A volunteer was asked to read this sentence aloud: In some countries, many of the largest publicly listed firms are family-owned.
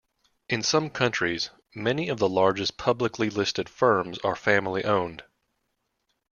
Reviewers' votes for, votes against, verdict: 2, 0, accepted